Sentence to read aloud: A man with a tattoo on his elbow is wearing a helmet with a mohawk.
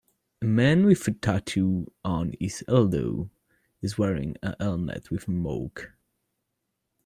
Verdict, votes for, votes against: rejected, 0, 2